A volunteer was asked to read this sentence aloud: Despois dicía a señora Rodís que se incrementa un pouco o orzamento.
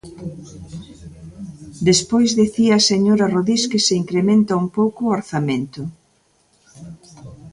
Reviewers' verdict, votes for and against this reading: rejected, 1, 2